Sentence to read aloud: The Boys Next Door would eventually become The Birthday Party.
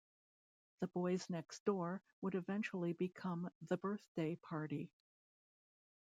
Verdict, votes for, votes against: accepted, 3, 2